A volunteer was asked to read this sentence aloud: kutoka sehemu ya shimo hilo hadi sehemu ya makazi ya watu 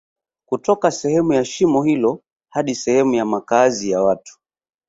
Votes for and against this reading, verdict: 3, 0, accepted